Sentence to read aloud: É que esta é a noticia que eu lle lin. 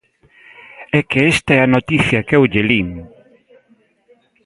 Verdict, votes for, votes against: rejected, 1, 2